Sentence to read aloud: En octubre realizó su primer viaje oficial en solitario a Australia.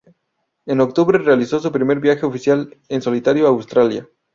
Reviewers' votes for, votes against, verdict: 2, 0, accepted